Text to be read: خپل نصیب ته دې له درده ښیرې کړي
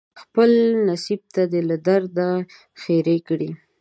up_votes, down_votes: 2, 0